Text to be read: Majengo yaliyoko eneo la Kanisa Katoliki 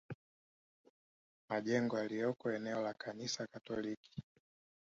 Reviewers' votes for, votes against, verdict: 2, 3, rejected